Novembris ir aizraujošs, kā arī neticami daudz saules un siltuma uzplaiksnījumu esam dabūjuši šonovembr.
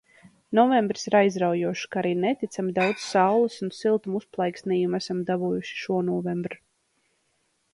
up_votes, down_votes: 1, 2